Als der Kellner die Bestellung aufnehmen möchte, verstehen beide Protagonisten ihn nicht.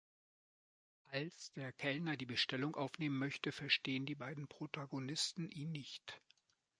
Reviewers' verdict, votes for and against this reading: rejected, 0, 2